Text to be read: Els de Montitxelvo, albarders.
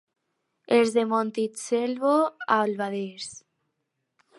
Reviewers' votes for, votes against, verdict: 0, 4, rejected